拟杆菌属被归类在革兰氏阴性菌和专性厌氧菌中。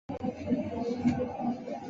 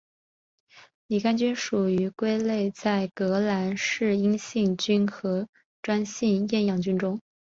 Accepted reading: second